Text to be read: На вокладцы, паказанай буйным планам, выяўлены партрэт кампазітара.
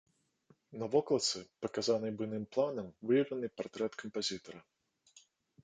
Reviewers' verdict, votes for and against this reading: accepted, 2, 0